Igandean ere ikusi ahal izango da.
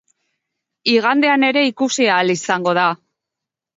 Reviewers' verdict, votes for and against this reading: accepted, 3, 0